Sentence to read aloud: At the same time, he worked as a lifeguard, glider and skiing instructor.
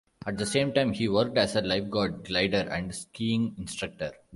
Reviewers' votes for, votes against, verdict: 2, 0, accepted